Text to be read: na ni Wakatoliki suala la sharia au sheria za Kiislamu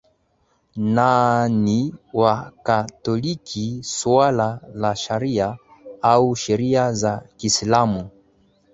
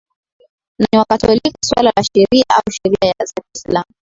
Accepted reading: first